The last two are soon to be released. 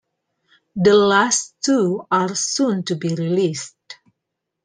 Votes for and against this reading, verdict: 2, 0, accepted